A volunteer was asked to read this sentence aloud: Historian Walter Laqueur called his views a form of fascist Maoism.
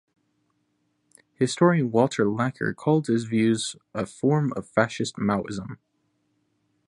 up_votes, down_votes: 1, 2